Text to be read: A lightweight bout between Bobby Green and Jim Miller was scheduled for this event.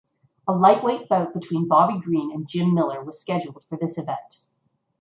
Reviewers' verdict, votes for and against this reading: accepted, 2, 0